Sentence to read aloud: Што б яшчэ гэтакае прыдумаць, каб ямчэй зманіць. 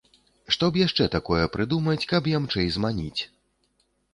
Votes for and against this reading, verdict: 0, 2, rejected